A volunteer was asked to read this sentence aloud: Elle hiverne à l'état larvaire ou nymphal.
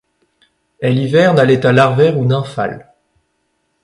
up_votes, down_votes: 2, 0